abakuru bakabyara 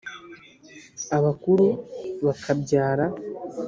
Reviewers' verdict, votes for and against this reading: accepted, 2, 0